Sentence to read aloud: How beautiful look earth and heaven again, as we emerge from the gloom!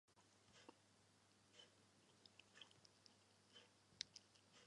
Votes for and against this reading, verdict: 0, 2, rejected